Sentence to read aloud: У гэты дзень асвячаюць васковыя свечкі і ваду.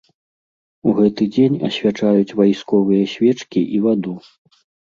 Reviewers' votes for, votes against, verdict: 0, 2, rejected